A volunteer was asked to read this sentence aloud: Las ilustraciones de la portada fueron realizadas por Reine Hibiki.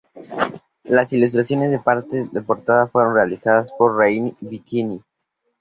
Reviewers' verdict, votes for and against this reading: rejected, 0, 2